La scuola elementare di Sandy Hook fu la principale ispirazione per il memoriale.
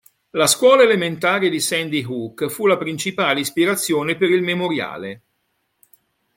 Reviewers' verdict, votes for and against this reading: accepted, 2, 0